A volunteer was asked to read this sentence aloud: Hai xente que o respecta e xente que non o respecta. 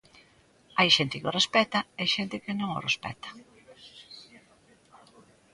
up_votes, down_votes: 0, 2